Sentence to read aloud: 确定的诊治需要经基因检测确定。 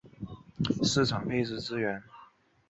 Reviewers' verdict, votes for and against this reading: rejected, 1, 2